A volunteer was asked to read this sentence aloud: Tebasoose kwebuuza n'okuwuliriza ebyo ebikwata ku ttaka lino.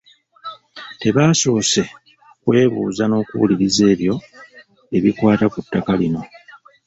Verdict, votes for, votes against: rejected, 1, 2